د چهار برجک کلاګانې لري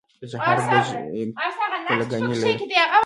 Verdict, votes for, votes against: rejected, 0, 2